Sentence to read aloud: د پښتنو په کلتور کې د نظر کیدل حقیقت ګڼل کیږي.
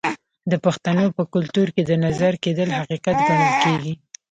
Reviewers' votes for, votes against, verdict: 2, 1, accepted